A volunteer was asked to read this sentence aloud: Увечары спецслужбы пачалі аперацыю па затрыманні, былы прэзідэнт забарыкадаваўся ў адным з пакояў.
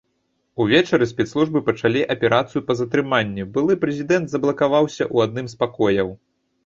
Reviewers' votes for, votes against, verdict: 1, 2, rejected